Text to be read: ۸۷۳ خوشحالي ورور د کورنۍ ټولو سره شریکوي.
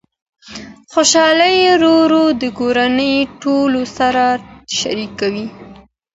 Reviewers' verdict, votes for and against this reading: rejected, 0, 2